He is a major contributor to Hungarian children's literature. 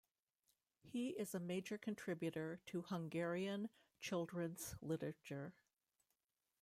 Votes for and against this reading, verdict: 2, 0, accepted